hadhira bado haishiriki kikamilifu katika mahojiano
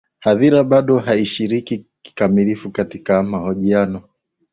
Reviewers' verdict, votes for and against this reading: rejected, 1, 2